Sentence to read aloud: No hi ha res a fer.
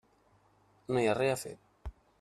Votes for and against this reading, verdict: 1, 2, rejected